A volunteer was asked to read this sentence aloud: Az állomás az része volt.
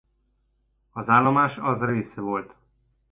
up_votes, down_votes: 0, 2